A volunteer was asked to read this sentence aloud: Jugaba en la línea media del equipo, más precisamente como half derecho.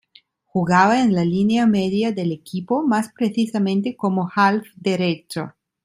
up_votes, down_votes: 3, 0